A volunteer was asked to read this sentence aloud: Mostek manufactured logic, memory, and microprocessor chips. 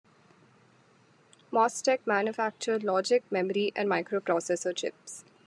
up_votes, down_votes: 2, 0